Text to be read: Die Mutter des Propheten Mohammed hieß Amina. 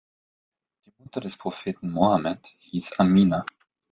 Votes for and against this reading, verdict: 3, 0, accepted